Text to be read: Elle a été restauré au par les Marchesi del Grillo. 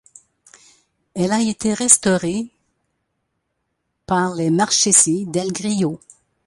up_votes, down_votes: 0, 2